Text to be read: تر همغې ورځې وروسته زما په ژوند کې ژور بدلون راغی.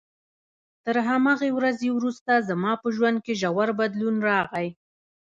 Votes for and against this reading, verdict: 2, 1, accepted